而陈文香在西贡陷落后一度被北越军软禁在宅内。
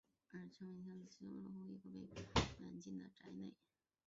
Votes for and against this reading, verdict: 2, 0, accepted